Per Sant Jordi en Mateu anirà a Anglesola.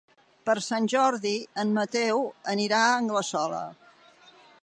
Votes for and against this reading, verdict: 3, 0, accepted